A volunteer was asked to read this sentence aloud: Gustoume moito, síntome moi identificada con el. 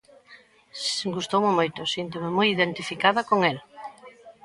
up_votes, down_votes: 1, 2